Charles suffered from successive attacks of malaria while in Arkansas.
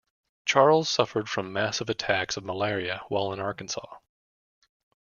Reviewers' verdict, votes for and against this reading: rejected, 0, 2